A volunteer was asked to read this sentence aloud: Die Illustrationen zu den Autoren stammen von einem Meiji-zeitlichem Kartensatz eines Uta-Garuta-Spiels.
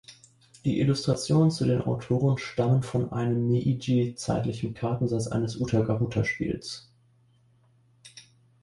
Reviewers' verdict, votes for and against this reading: rejected, 1, 2